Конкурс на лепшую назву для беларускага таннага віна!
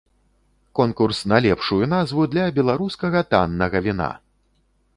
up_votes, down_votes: 2, 0